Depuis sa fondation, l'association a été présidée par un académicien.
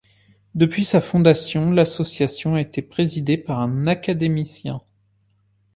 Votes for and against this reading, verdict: 2, 0, accepted